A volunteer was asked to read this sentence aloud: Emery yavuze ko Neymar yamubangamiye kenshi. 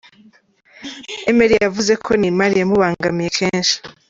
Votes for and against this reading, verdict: 2, 0, accepted